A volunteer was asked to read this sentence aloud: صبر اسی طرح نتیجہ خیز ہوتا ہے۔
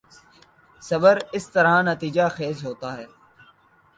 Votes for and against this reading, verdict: 2, 0, accepted